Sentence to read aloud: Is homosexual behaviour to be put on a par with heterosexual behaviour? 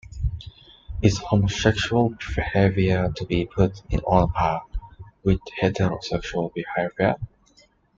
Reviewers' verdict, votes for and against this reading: accepted, 2, 0